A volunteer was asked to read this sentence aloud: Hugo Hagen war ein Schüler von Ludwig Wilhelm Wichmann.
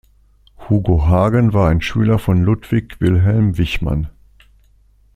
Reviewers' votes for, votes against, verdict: 2, 0, accepted